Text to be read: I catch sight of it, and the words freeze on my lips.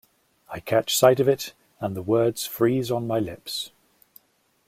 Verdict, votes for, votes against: accepted, 2, 0